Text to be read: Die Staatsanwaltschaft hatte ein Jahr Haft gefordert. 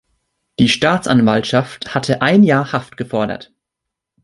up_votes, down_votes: 3, 0